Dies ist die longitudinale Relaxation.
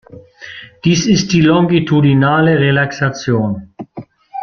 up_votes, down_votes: 1, 2